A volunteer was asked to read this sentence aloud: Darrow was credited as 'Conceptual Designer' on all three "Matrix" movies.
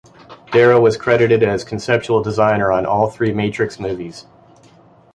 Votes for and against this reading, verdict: 2, 1, accepted